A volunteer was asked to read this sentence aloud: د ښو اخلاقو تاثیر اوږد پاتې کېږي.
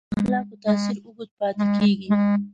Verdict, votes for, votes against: rejected, 0, 2